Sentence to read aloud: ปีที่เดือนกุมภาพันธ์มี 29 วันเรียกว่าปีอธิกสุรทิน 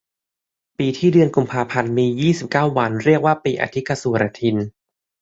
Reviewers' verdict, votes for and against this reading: rejected, 0, 2